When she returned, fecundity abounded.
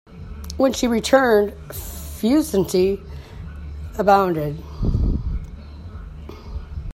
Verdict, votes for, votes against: rejected, 0, 2